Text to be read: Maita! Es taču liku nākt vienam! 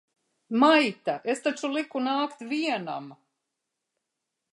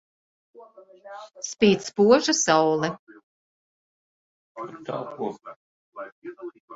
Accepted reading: first